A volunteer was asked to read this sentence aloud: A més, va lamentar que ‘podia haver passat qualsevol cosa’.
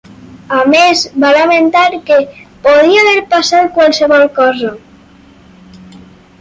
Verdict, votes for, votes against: accepted, 4, 0